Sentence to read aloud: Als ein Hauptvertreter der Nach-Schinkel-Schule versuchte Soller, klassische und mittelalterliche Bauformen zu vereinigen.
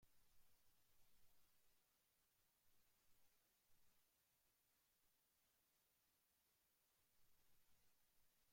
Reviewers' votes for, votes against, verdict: 0, 2, rejected